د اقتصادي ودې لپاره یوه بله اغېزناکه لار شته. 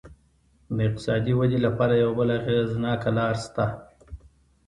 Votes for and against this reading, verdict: 2, 0, accepted